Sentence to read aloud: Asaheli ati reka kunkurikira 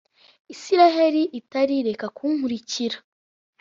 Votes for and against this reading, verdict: 1, 2, rejected